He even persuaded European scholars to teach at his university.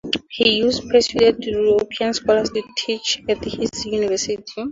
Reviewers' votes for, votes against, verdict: 0, 4, rejected